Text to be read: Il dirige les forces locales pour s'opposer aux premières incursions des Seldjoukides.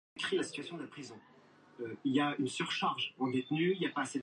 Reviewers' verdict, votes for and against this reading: rejected, 1, 2